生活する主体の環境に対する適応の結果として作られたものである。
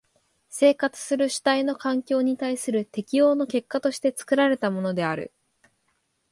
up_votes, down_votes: 3, 0